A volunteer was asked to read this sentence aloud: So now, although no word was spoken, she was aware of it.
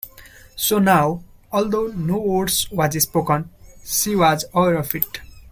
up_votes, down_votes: 0, 2